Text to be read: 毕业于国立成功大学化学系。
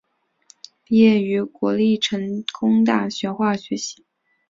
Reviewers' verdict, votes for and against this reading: accepted, 5, 0